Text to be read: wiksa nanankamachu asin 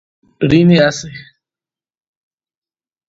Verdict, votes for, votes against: rejected, 0, 2